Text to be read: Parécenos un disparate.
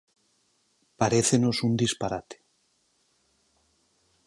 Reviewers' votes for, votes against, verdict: 4, 0, accepted